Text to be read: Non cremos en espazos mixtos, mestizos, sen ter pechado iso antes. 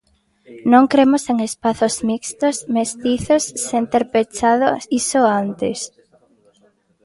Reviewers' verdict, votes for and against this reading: accepted, 2, 0